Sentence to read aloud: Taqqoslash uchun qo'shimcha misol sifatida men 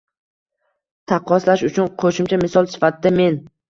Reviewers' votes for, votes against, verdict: 1, 2, rejected